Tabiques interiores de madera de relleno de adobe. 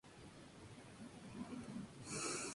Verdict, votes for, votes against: rejected, 0, 2